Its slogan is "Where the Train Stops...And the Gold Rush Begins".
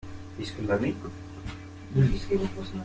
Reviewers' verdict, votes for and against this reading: rejected, 0, 2